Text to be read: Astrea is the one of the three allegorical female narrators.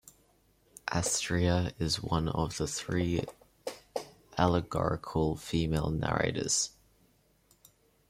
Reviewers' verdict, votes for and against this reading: accepted, 3, 2